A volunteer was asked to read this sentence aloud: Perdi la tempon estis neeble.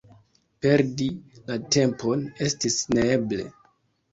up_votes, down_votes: 2, 1